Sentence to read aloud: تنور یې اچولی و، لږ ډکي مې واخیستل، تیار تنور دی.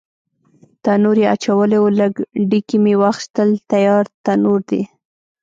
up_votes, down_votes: 0, 2